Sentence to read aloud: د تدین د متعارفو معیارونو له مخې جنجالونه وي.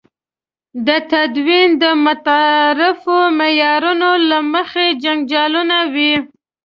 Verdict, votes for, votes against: accepted, 2, 1